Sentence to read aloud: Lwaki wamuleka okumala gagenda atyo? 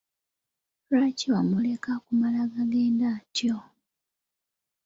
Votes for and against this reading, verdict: 1, 2, rejected